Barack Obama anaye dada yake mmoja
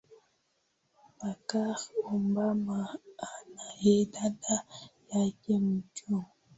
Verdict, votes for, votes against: rejected, 2, 8